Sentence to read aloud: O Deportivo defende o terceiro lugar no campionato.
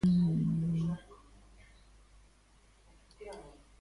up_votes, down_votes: 0, 2